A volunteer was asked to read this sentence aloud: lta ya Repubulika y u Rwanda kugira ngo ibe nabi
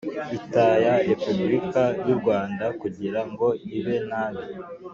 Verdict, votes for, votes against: accepted, 2, 0